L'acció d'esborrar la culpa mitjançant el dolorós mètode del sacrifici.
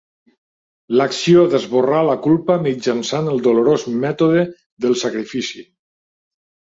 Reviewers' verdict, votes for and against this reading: accepted, 3, 0